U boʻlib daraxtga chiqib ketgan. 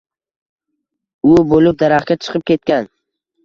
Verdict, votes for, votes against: accepted, 2, 0